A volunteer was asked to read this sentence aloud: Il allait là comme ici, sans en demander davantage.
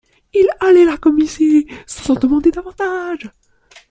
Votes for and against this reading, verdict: 0, 2, rejected